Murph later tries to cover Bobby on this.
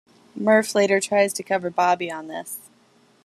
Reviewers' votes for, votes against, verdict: 2, 0, accepted